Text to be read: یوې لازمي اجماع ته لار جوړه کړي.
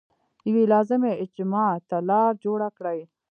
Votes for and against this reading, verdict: 2, 0, accepted